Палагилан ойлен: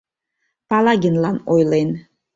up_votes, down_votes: 0, 2